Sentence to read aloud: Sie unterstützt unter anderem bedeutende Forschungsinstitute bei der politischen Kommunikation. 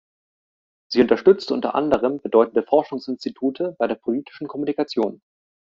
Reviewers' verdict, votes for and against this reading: accepted, 2, 0